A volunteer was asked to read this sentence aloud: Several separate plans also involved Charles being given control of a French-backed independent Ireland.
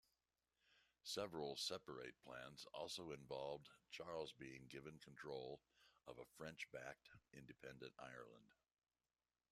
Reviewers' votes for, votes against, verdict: 2, 1, accepted